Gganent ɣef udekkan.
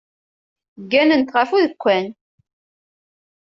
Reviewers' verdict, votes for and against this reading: accepted, 2, 0